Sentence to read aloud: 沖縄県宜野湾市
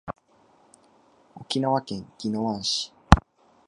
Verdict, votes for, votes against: accepted, 3, 2